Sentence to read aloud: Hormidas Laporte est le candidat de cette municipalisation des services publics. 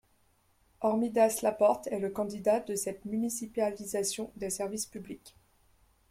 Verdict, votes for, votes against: accepted, 2, 0